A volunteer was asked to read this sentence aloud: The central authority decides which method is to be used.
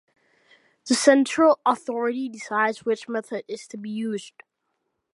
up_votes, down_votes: 2, 0